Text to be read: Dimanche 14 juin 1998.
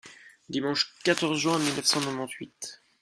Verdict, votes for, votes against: rejected, 0, 2